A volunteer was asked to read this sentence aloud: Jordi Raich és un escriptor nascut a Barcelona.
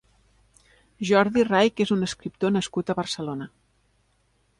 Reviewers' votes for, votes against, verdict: 4, 0, accepted